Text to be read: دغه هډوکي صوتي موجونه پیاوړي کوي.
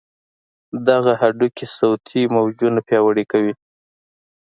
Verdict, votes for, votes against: accepted, 2, 0